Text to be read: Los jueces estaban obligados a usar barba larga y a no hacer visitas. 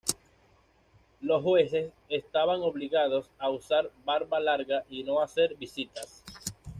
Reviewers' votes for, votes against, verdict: 1, 2, rejected